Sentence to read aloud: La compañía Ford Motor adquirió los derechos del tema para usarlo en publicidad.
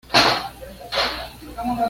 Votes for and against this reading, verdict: 1, 2, rejected